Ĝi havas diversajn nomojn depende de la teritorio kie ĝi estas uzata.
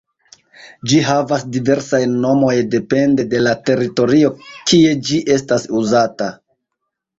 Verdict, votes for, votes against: rejected, 1, 2